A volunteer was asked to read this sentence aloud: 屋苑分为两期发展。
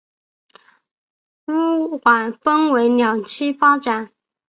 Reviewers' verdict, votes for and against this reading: rejected, 2, 3